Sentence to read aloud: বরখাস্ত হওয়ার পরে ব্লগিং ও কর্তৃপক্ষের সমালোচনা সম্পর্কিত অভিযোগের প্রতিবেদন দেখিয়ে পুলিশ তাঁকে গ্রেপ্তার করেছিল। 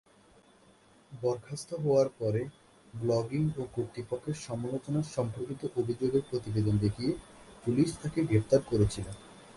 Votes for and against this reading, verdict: 2, 2, rejected